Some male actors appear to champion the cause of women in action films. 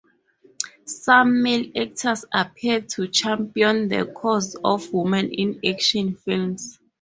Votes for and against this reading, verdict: 0, 2, rejected